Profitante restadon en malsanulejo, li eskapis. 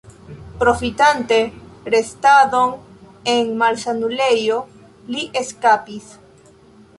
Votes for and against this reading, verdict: 2, 0, accepted